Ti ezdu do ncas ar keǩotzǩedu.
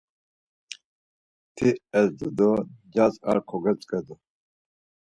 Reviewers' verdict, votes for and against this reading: rejected, 2, 4